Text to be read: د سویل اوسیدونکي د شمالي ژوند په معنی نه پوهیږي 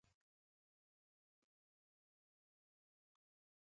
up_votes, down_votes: 0, 2